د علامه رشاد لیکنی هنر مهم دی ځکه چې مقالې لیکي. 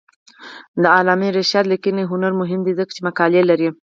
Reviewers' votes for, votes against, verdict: 0, 4, rejected